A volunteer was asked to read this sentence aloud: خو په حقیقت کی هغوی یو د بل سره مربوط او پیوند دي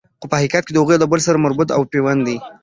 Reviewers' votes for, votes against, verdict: 2, 0, accepted